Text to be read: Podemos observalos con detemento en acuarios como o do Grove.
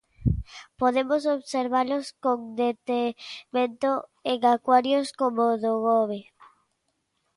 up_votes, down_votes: 0, 2